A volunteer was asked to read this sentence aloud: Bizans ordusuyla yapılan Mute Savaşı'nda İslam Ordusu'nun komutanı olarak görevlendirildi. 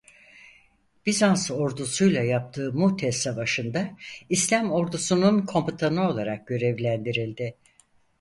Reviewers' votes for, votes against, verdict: 2, 4, rejected